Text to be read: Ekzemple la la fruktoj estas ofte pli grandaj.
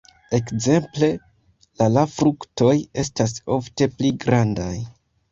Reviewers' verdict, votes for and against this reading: accepted, 2, 1